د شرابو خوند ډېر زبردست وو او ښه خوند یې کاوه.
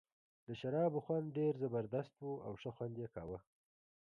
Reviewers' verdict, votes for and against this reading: rejected, 1, 2